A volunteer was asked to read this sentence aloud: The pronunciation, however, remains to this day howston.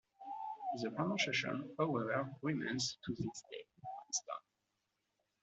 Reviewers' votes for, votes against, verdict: 0, 2, rejected